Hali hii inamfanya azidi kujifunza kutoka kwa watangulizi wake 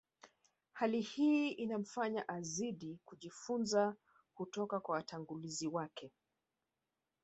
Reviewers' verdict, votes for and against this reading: accepted, 3, 1